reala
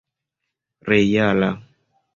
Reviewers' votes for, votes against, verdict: 2, 0, accepted